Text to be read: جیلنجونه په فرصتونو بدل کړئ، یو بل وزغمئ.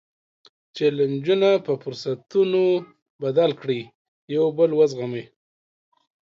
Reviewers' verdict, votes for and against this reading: accepted, 2, 0